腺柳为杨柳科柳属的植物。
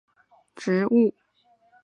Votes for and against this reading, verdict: 0, 5, rejected